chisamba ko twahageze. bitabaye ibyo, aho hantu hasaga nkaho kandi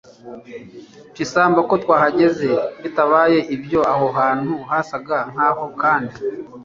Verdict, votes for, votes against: rejected, 0, 2